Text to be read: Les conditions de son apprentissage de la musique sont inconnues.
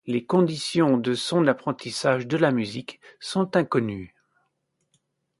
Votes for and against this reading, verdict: 2, 0, accepted